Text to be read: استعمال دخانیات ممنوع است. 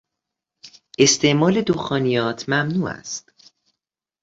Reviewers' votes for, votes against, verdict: 2, 0, accepted